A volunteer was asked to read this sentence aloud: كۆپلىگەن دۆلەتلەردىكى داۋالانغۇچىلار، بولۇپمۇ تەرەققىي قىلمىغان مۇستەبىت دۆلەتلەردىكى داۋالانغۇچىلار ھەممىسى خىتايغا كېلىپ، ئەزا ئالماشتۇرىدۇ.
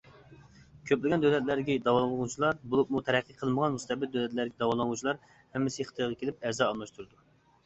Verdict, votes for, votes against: rejected, 0, 2